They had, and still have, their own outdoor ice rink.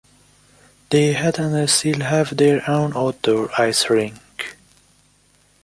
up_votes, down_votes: 2, 1